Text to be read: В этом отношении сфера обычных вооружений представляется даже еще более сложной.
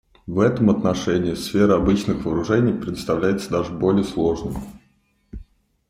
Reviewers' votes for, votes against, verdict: 0, 2, rejected